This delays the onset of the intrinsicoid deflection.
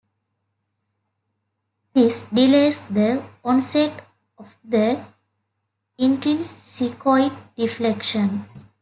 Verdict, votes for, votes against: accepted, 2, 0